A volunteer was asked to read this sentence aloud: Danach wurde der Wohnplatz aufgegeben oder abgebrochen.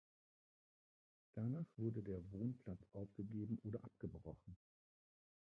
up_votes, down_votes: 0, 2